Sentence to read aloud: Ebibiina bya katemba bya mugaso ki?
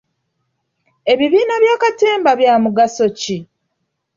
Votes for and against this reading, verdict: 2, 1, accepted